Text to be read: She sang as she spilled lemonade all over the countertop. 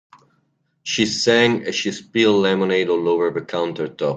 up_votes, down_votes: 3, 0